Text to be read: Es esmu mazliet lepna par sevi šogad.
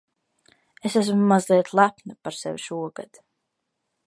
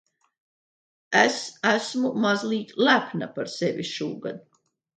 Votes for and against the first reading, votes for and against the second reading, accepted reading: 2, 0, 0, 2, first